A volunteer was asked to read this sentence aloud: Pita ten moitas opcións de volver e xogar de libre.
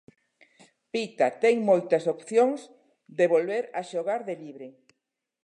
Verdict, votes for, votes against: rejected, 1, 2